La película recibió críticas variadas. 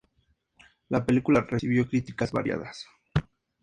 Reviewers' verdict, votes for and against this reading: accepted, 2, 0